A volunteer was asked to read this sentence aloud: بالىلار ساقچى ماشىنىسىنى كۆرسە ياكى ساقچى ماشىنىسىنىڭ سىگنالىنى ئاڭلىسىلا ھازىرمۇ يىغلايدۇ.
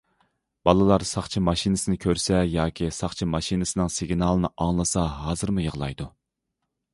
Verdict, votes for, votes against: rejected, 1, 2